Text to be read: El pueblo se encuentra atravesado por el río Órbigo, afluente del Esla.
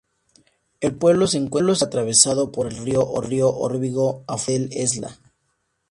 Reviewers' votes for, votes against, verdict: 2, 2, rejected